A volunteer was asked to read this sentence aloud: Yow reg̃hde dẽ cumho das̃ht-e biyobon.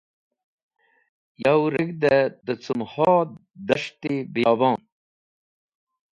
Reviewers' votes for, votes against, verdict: 2, 0, accepted